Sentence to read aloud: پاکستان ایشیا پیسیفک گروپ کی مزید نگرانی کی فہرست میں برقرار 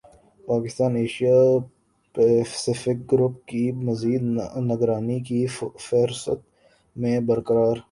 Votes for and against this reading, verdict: 1, 2, rejected